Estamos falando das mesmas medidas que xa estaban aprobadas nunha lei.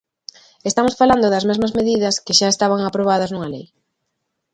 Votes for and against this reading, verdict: 2, 0, accepted